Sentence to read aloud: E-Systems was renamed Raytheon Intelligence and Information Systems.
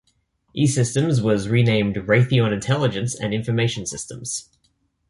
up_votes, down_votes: 2, 0